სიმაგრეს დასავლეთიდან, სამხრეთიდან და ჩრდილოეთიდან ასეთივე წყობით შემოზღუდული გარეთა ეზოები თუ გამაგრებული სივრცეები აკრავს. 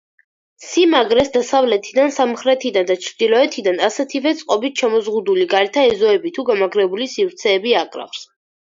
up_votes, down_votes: 4, 0